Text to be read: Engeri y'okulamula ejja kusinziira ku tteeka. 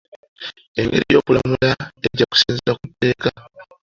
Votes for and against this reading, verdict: 1, 2, rejected